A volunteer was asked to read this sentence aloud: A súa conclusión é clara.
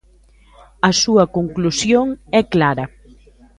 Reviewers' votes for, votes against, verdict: 0, 2, rejected